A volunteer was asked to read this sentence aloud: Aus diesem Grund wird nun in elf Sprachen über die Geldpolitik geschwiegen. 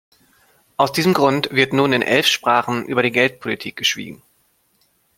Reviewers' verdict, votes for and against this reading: accepted, 2, 1